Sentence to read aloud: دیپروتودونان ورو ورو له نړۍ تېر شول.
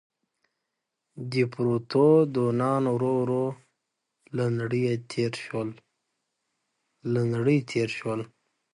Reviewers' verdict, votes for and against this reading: rejected, 1, 2